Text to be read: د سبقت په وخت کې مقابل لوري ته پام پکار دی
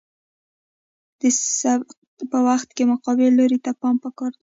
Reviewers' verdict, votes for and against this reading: rejected, 1, 2